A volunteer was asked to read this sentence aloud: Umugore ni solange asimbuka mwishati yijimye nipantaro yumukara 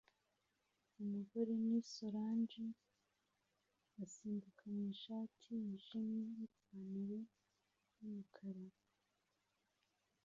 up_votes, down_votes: 0, 2